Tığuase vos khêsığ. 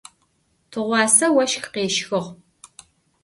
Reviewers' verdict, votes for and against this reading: rejected, 1, 2